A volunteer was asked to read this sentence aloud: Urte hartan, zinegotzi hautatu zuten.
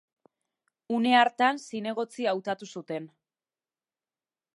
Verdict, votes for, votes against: rejected, 1, 2